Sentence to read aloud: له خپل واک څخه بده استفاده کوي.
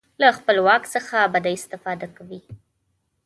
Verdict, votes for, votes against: accepted, 2, 0